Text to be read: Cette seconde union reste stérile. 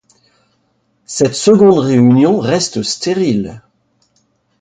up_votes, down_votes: 0, 2